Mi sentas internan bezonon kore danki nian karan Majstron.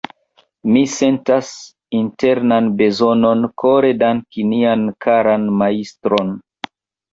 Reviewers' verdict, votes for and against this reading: accepted, 2, 1